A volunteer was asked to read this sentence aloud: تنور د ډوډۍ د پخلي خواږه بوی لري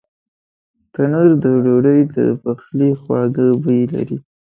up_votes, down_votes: 2, 0